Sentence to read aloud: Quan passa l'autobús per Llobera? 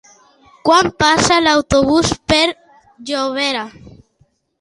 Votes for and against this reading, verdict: 2, 0, accepted